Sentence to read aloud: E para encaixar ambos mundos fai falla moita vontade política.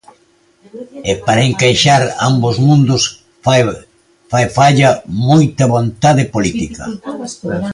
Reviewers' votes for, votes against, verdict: 2, 0, accepted